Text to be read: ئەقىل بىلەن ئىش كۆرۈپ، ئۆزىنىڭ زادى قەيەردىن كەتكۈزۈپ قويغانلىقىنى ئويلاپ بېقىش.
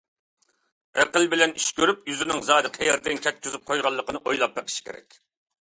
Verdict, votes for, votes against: rejected, 0, 2